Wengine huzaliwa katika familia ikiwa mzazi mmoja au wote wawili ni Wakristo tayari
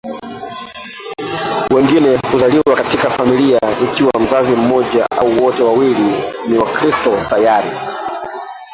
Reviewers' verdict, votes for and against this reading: rejected, 0, 2